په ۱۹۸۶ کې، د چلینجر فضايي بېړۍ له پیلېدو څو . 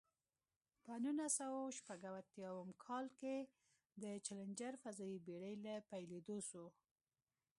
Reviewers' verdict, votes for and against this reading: rejected, 0, 2